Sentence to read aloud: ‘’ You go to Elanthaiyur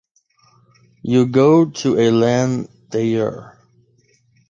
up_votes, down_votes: 1, 2